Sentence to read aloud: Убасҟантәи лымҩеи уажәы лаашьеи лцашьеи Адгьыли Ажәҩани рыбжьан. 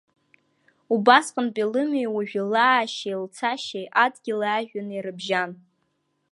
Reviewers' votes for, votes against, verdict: 1, 2, rejected